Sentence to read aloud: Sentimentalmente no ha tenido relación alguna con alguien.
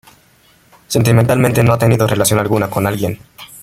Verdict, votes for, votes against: rejected, 1, 2